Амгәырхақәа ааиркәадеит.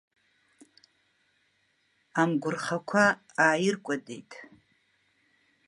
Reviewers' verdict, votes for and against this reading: accepted, 2, 1